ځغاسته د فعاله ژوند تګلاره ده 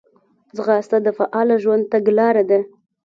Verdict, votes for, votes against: accepted, 2, 0